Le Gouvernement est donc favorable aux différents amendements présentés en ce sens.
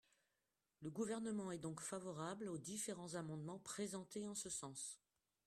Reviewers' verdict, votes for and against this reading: accepted, 2, 0